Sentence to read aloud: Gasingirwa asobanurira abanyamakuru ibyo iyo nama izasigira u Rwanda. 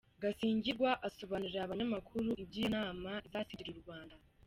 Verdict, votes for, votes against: rejected, 1, 2